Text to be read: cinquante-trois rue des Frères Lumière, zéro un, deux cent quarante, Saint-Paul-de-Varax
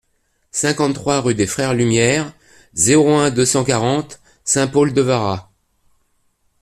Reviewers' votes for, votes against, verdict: 2, 0, accepted